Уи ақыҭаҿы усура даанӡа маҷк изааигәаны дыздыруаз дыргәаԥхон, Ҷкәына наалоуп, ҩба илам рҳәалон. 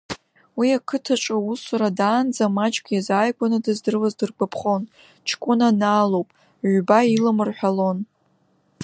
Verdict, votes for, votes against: rejected, 0, 2